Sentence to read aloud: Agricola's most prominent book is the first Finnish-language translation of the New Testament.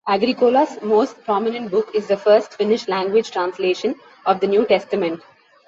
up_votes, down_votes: 2, 0